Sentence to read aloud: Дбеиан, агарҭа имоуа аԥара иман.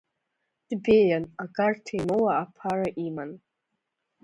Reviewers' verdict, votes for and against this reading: rejected, 1, 2